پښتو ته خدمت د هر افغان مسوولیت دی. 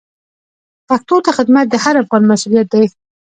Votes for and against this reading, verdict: 1, 2, rejected